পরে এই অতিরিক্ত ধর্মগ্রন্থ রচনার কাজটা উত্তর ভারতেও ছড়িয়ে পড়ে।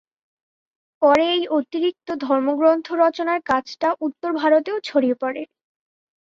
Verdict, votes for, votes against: accepted, 3, 0